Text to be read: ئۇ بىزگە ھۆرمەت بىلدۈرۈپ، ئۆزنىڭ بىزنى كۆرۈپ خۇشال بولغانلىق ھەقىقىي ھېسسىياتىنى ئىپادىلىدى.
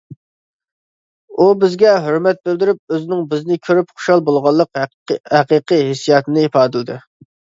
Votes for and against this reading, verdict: 1, 2, rejected